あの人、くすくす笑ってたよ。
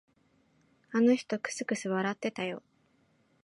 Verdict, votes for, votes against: accepted, 7, 0